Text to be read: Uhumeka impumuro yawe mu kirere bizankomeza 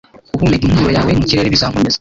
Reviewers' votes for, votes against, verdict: 1, 2, rejected